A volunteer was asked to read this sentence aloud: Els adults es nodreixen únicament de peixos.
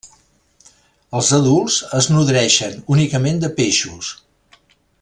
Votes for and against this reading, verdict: 3, 0, accepted